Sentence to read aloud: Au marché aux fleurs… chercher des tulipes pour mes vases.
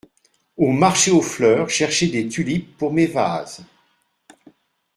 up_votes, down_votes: 2, 0